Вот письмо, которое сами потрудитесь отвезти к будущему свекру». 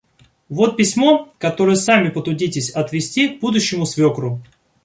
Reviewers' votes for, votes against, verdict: 1, 2, rejected